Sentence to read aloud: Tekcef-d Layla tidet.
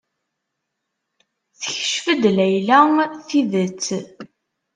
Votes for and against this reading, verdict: 2, 0, accepted